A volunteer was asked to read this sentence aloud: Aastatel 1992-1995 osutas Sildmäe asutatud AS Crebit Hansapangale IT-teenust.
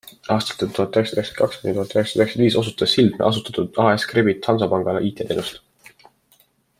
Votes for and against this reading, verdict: 0, 2, rejected